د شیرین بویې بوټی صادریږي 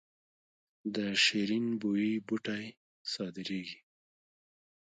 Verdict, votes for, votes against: rejected, 0, 2